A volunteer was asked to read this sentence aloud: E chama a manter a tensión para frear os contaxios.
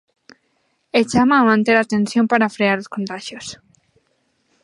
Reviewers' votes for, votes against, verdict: 2, 1, accepted